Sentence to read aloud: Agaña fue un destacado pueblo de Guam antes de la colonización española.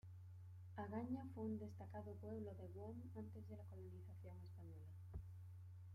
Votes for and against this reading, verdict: 0, 2, rejected